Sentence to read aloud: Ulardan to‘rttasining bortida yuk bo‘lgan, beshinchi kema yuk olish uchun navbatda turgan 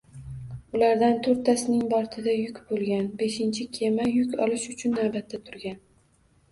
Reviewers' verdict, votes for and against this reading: accepted, 2, 0